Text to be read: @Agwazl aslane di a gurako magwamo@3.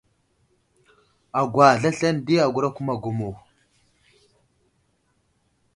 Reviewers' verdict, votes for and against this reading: rejected, 0, 2